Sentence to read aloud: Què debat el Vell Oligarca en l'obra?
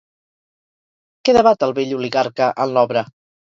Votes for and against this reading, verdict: 0, 2, rejected